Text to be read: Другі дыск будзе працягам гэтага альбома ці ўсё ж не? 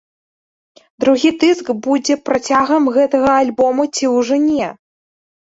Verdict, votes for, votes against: rejected, 1, 2